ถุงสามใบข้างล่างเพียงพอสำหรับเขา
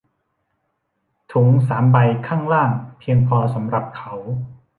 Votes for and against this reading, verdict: 1, 2, rejected